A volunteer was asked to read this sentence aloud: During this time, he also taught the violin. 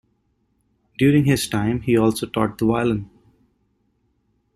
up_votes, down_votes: 1, 2